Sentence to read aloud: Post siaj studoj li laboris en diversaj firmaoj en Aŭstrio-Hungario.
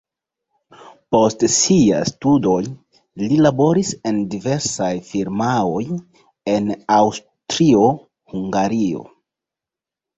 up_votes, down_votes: 2, 0